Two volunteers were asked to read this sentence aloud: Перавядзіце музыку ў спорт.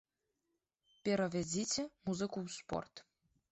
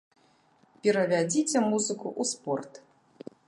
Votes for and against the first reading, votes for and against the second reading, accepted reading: 2, 0, 0, 2, first